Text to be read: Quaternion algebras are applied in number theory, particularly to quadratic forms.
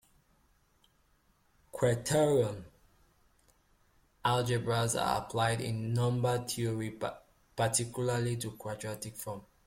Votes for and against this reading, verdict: 1, 2, rejected